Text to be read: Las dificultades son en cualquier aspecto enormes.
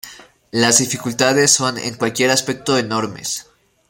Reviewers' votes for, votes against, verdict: 2, 0, accepted